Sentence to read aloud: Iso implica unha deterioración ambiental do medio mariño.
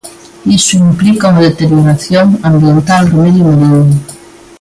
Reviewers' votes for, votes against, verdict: 2, 0, accepted